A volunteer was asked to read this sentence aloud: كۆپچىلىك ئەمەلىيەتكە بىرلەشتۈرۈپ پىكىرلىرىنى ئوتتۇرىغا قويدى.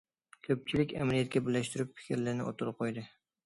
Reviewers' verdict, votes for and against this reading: accepted, 2, 0